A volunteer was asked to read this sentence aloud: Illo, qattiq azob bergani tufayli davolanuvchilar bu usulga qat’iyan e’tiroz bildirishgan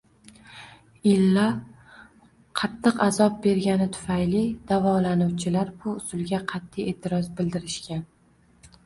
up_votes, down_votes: 1, 2